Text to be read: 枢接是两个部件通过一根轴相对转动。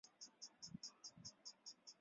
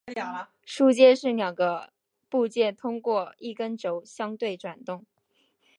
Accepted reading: second